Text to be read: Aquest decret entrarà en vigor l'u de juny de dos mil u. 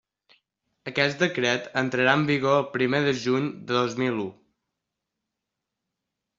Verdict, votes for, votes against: rejected, 0, 2